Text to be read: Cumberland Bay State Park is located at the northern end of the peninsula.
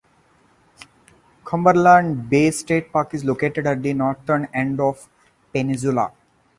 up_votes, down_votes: 0, 4